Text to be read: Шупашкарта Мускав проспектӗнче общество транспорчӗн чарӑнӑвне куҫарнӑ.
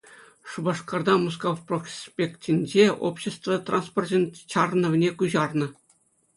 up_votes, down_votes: 2, 0